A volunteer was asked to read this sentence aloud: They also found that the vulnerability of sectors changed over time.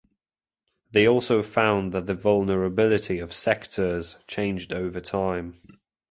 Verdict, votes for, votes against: accepted, 2, 0